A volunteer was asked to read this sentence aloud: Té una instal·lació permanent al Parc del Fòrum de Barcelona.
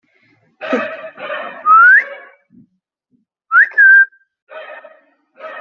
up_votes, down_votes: 0, 2